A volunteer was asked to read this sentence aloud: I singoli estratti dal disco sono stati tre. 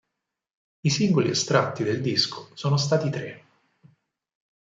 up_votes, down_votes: 4, 2